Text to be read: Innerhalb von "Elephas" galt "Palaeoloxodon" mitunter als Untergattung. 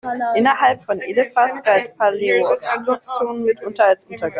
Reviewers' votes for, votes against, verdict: 0, 2, rejected